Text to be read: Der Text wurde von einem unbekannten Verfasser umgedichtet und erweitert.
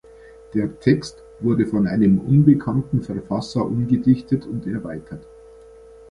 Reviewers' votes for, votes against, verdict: 2, 0, accepted